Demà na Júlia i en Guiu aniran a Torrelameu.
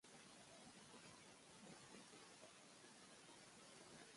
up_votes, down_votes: 0, 3